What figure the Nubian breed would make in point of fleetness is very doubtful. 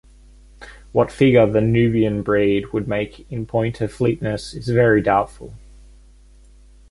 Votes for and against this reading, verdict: 2, 0, accepted